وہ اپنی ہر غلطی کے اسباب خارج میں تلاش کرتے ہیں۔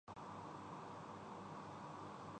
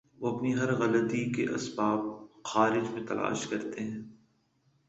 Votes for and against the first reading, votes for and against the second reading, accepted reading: 0, 2, 2, 0, second